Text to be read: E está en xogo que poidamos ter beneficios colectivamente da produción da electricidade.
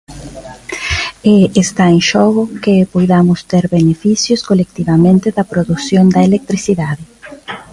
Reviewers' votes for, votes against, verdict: 2, 1, accepted